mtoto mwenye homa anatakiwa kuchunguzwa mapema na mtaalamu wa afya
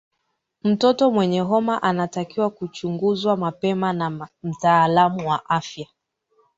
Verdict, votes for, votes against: accepted, 2, 0